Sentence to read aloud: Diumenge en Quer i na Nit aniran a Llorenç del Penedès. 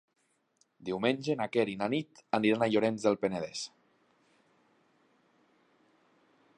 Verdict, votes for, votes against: rejected, 1, 2